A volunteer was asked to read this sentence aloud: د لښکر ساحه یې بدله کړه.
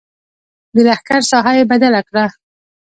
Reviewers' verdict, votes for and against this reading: accepted, 2, 0